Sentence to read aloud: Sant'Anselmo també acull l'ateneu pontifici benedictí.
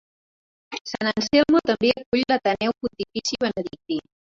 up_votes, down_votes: 0, 2